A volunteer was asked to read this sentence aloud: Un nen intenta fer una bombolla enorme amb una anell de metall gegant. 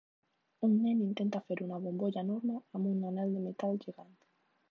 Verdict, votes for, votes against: rejected, 1, 2